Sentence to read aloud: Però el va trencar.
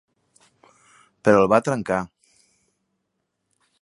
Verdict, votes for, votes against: accepted, 3, 0